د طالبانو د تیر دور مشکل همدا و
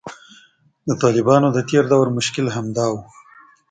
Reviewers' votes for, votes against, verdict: 2, 1, accepted